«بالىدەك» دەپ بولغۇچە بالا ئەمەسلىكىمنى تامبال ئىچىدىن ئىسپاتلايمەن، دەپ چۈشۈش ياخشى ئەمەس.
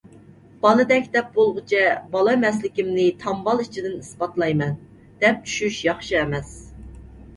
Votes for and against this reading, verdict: 2, 0, accepted